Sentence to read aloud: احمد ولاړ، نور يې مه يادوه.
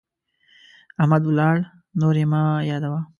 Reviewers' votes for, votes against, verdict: 2, 0, accepted